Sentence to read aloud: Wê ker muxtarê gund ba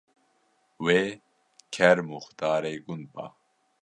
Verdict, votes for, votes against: accepted, 2, 0